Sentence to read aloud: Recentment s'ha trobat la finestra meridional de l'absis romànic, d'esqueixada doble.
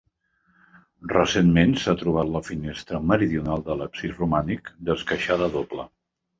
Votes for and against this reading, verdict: 2, 0, accepted